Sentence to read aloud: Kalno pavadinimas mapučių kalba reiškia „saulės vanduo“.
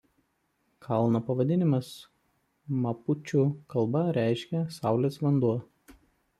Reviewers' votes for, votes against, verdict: 2, 0, accepted